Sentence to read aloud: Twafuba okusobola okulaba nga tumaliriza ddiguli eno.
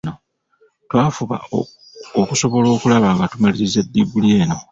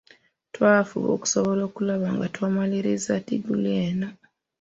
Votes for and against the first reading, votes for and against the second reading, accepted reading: 1, 2, 2, 0, second